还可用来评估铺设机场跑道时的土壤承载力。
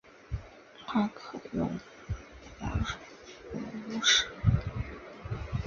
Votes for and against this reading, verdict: 0, 4, rejected